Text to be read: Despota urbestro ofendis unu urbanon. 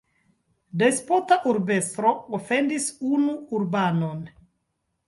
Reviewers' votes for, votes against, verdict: 1, 2, rejected